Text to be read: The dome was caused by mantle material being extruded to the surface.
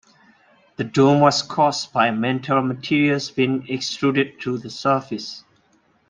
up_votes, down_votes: 0, 2